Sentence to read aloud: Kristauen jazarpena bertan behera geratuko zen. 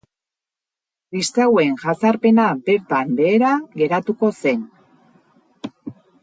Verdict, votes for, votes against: rejected, 2, 2